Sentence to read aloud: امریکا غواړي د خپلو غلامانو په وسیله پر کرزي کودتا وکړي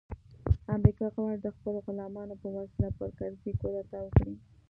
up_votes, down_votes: 1, 2